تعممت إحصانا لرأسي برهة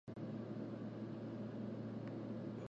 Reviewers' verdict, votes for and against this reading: rejected, 1, 2